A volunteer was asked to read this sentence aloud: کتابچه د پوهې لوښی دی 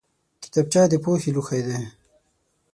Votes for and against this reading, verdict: 6, 0, accepted